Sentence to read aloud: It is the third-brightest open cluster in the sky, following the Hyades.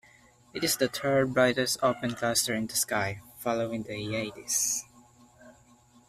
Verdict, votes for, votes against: rejected, 1, 2